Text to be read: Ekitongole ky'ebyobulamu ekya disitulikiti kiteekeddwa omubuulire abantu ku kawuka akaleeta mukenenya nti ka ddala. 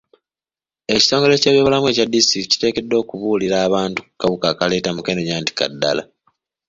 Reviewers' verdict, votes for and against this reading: rejected, 1, 2